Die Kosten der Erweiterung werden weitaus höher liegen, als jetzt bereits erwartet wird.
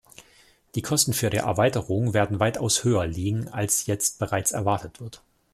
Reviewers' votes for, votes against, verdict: 1, 2, rejected